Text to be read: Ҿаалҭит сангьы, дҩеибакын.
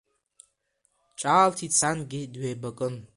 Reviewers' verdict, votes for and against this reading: accepted, 2, 0